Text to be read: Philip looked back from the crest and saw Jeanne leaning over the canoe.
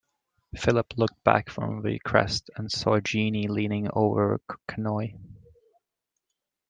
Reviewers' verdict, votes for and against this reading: rejected, 0, 2